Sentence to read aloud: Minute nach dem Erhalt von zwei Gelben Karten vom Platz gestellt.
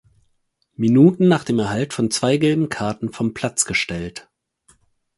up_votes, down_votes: 0, 4